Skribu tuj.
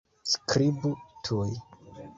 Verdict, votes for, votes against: accepted, 2, 0